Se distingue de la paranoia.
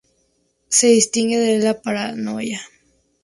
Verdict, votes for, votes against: accepted, 2, 0